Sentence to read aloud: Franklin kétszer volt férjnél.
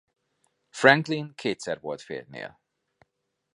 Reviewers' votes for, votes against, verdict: 3, 0, accepted